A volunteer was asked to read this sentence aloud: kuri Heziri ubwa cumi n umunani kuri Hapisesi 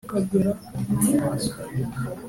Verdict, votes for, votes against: accepted, 3, 2